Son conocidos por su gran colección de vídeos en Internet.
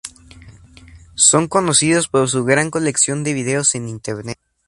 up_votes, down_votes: 4, 0